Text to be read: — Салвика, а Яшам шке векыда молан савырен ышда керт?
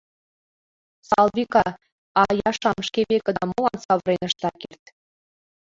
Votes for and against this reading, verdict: 0, 3, rejected